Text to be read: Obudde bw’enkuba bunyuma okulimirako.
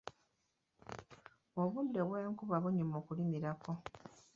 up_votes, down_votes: 2, 0